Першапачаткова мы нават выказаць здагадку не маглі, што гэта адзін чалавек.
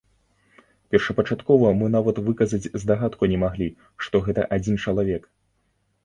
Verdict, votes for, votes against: accepted, 2, 0